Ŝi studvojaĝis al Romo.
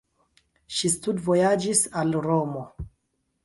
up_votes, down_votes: 1, 2